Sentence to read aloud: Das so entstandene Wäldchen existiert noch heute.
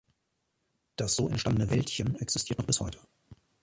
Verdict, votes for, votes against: rejected, 0, 2